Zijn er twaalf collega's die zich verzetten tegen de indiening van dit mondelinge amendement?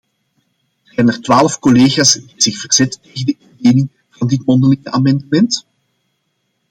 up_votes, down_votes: 0, 2